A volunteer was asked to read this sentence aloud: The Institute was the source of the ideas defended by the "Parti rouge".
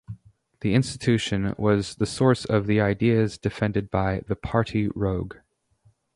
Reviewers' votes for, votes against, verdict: 0, 2, rejected